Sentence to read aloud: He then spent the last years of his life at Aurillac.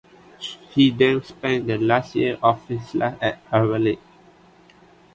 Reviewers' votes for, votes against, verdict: 2, 3, rejected